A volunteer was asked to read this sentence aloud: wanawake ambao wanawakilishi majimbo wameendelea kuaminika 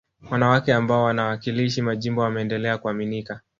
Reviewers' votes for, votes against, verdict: 4, 1, accepted